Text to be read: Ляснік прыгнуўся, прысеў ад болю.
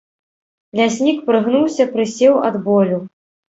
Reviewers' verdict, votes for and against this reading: accepted, 2, 0